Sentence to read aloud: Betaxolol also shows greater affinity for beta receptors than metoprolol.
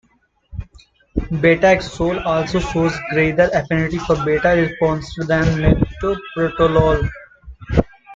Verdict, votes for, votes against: rejected, 0, 2